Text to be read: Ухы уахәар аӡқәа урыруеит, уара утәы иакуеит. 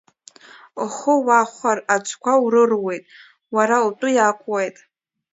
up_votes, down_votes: 1, 2